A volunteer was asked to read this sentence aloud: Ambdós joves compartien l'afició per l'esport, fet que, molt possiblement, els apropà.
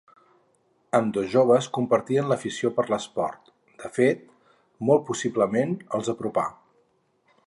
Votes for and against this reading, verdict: 2, 2, rejected